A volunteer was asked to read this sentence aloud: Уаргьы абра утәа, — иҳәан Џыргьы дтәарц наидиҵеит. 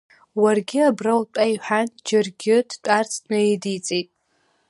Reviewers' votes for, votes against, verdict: 2, 0, accepted